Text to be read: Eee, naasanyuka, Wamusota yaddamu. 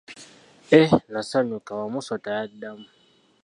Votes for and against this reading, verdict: 1, 2, rejected